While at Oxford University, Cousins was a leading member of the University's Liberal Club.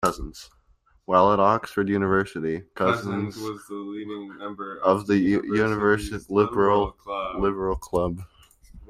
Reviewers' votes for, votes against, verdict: 0, 2, rejected